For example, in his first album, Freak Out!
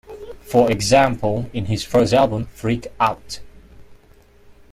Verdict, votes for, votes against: accepted, 2, 1